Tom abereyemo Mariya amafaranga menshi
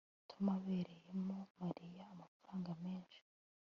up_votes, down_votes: 2, 0